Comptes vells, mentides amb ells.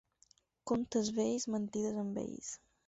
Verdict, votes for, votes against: accepted, 4, 2